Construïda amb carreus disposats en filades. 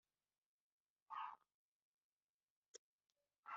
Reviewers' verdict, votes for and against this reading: rejected, 0, 2